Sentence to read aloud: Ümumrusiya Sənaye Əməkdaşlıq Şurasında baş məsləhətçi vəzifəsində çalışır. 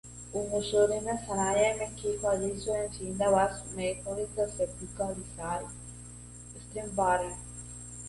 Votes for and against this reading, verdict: 0, 2, rejected